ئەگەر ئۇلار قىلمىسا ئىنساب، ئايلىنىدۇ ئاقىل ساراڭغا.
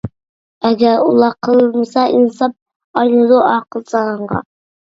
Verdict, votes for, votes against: rejected, 1, 2